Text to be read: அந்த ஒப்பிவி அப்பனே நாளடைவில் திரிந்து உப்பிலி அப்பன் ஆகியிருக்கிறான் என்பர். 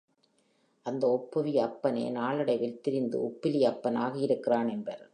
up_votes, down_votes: 2, 0